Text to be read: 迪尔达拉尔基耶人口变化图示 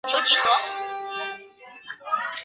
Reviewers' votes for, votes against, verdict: 0, 2, rejected